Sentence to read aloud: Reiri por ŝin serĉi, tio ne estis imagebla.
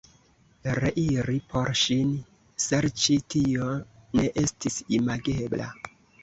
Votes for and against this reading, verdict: 2, 0, accepted